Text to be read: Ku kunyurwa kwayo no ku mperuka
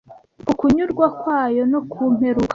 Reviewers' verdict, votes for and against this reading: rejected, 1, 2